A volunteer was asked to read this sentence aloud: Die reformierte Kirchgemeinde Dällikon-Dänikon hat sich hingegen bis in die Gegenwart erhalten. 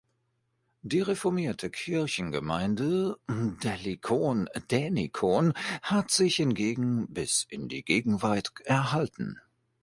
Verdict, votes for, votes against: rejected, 0, 2